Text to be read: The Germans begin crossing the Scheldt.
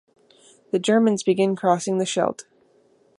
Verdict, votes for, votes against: accepted, 2, 0